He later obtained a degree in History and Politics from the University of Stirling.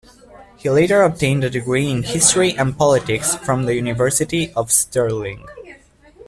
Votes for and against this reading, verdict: 2, 0, accepted